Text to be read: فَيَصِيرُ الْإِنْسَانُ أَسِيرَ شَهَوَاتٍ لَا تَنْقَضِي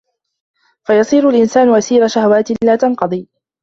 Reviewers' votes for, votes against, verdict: 3, 0, accepted